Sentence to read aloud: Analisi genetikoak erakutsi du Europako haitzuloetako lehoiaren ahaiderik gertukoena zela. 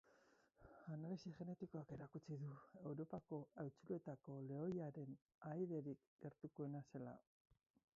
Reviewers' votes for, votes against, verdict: 0, 4, rejected